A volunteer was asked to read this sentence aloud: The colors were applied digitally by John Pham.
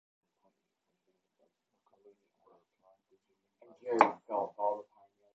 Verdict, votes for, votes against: rejected, 0, 2